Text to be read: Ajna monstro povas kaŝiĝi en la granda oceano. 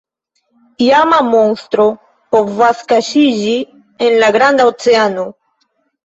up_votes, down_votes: 0, 2